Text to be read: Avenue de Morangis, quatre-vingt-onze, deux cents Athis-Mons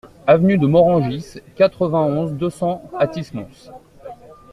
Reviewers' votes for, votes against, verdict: 2, 0, accepted